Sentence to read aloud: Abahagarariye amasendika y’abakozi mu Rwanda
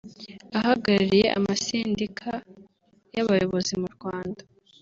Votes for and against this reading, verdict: 1, 4, rejected